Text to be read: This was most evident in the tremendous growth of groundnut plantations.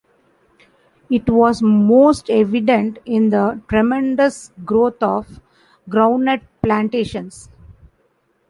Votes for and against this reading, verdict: 0, 2, rejected